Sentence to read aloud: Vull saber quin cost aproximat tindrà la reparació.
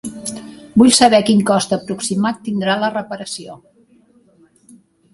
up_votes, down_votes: 1, 2